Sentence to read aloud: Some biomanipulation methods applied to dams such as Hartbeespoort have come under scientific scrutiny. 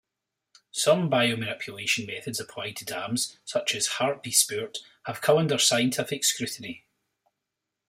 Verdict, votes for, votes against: accepted, 2, 0